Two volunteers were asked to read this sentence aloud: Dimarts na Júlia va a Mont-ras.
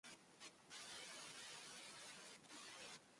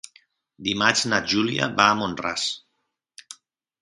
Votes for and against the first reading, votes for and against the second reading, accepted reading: 1, 2, 3, 0, second